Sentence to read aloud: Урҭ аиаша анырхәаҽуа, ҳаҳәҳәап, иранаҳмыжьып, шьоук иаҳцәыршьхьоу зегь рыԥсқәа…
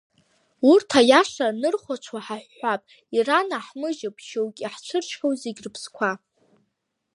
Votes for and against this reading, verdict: 2, 1, accepted